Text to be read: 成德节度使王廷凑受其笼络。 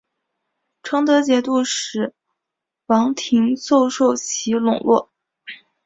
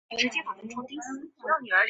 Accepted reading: first